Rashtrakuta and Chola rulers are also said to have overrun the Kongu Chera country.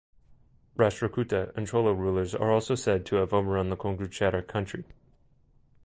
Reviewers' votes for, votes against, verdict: 2, 0, accepted